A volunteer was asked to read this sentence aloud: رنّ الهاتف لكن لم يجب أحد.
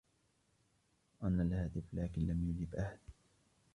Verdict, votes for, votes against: rejected, 0, 2